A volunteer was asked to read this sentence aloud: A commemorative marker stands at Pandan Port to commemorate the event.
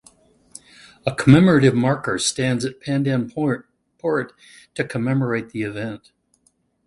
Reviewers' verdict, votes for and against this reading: rejected, 0, 2